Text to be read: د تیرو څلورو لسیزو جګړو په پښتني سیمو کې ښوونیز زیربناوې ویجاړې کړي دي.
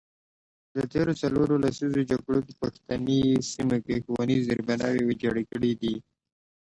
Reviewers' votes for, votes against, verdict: 2, 0, accepted